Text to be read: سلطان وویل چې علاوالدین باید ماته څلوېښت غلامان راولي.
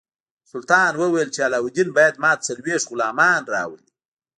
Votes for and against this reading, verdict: 1, 2, rejected